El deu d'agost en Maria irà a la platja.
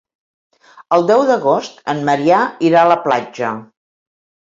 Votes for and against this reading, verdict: 0, 2, rejected